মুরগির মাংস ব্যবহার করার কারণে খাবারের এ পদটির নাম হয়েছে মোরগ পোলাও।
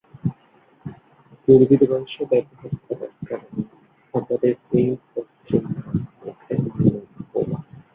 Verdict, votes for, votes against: rejected, 0, 3